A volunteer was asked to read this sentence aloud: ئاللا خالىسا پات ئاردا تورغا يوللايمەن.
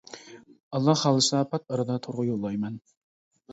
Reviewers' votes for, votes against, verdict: 2, 0, accepted